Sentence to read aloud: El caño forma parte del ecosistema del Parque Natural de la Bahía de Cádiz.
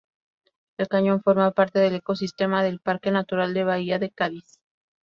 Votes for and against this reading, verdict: 0, 2, rejected